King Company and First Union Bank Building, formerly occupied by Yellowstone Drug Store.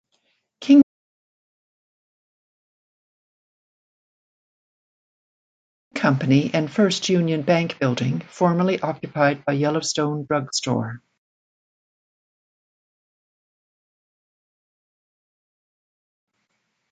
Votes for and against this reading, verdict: 0, 2, rejected